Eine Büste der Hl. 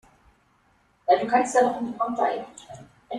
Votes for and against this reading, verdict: 0, 2, rejected